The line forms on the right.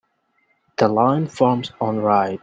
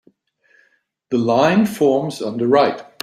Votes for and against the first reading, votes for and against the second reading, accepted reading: 1, 4, 3, 0, second